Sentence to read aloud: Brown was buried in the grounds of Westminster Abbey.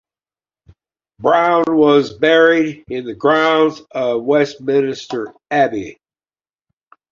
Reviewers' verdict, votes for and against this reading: rejected, 1, 2